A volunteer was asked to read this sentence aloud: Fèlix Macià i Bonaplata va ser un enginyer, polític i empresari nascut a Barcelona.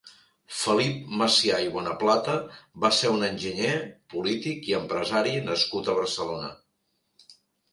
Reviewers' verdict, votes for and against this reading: rejected, 0, 3